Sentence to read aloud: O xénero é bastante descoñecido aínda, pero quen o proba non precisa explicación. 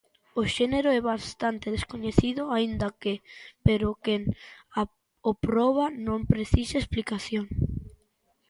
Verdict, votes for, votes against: rejected, 0, 2